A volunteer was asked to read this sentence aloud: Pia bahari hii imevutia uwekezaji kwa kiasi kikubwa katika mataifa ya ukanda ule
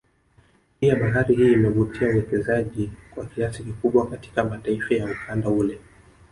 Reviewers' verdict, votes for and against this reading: rejected, 1, 2